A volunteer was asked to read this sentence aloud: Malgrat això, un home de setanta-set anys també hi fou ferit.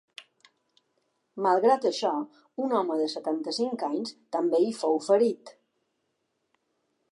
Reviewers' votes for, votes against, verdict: 0, 2, rejected